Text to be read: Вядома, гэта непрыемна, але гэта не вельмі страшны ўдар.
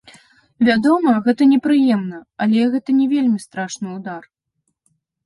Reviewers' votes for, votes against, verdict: 2, 0, accepted